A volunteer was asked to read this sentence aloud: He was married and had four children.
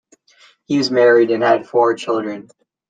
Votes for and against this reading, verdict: 2, 1, accepted